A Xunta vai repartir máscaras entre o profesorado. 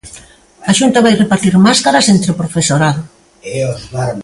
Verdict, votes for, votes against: rejected, 1, 2